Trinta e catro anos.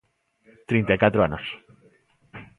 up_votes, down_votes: 2, 0